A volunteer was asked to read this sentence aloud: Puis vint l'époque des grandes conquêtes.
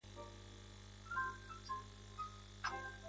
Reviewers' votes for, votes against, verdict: 1, 2, rejected